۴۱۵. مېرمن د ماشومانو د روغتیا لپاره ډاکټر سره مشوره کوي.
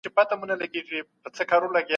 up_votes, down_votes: 0, 2